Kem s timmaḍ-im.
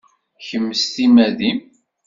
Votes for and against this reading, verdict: 1, 2, rejected